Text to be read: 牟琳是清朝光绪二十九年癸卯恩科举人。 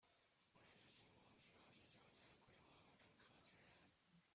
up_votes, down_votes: 0, 2